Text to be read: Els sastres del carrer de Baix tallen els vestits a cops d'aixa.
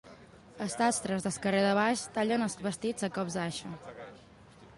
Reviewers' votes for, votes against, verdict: 0, 2, rejected